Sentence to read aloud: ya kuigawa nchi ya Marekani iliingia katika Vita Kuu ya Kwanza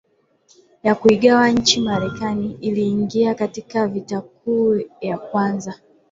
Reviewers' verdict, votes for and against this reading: accepted, 2, 0